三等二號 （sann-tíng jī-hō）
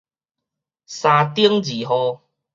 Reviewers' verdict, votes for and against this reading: rejected, 2, 2